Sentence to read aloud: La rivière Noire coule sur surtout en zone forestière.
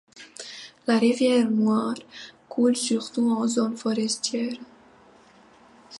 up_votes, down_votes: 0, 2